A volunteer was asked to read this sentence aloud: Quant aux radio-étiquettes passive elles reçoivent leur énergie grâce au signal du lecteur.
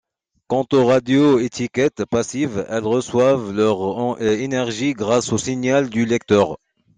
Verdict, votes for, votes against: rejected, 0, 2